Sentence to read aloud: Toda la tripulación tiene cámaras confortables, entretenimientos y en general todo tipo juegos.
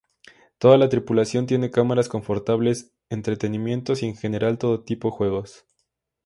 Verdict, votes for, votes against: accepted, 2, 0